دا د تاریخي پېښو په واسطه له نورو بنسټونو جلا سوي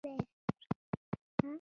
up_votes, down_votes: 0, 2